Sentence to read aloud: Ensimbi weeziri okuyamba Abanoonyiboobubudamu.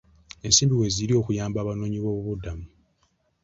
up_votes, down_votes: 2, 0